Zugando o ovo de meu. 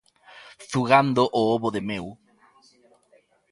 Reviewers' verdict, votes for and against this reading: rejected, 1, 2